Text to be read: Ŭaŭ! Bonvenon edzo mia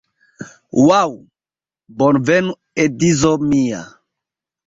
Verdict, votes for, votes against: accepted, 2, 1